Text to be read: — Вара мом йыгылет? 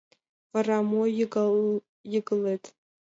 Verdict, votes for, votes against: accepted, 2, 1